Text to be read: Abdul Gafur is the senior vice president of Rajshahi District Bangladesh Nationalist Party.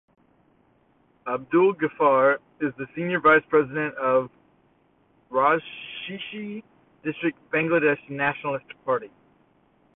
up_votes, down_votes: 0, 2